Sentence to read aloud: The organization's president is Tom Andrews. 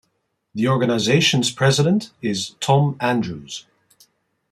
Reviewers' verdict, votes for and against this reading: accepted, 2, 0